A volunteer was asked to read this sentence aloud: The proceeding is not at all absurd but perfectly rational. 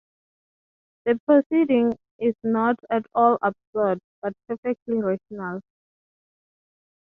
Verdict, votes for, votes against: rejected, 0, 3